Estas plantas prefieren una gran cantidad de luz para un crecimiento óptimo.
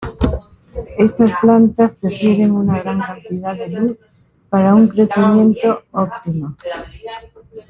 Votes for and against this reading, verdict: 2, 0, accepted